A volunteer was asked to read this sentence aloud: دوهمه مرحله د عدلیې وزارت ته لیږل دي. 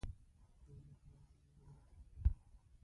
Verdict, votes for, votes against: rejected, 1, 2